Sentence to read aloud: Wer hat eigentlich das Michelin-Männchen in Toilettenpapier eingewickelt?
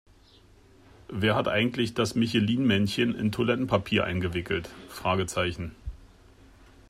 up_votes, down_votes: 0, 2